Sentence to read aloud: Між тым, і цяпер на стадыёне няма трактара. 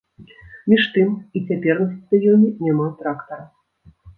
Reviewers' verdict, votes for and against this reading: rejected, 1, 2